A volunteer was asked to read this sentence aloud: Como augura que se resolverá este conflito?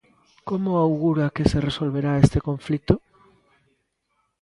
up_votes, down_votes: 2, 0